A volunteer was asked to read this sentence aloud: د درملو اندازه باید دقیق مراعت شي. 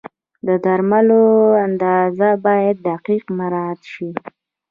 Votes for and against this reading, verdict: 1, 2, rejected